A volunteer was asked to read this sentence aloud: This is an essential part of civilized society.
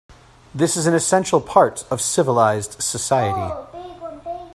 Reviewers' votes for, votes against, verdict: 1, 2, rejected